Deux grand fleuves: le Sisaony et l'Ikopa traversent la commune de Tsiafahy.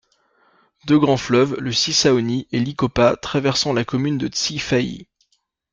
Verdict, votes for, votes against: rejected, 0, 2